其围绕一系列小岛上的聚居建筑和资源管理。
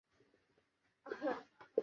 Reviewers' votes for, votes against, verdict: 0, 2, rejected